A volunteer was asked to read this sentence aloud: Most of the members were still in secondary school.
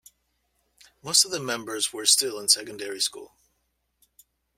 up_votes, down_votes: 2, 0